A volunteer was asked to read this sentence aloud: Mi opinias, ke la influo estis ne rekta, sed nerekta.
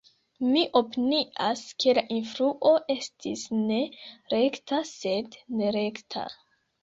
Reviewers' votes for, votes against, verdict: 2, 0, accepted